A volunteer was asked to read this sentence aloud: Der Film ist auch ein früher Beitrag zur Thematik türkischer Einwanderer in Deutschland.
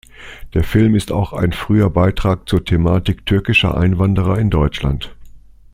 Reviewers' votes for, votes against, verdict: 2, 0, accepted